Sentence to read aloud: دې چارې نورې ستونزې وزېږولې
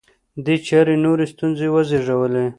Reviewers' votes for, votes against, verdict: 2, 0, accepted